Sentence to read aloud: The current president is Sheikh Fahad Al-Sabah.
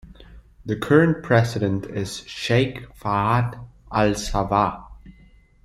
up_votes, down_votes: 2, 0